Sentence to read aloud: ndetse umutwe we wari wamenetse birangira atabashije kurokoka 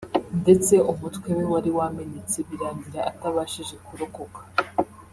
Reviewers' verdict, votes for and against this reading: accepted, 2, 0